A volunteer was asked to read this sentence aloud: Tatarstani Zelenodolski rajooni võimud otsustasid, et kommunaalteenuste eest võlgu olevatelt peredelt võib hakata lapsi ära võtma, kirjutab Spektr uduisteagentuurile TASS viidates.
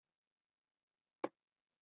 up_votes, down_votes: 0, 2